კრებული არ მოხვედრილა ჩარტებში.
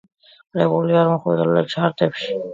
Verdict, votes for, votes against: accepted, 2, 1